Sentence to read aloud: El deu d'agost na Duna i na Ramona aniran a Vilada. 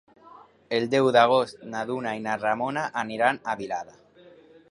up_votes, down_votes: 3, 0